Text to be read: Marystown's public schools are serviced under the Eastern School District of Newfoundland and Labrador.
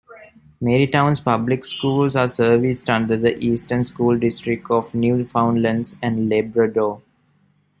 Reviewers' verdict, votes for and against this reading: accepted, 2, 0